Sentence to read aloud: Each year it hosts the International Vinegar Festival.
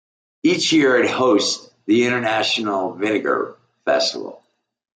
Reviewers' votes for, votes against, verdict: 2, 0, accepted